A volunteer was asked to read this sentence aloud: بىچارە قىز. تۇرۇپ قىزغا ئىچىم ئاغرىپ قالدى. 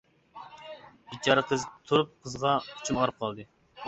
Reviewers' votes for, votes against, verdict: 2, 1, accepted